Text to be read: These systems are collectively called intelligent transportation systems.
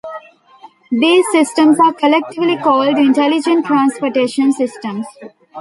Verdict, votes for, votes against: rejected, 1, 2